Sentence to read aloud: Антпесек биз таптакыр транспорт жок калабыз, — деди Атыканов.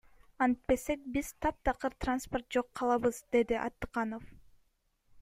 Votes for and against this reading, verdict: 1, 2, rejected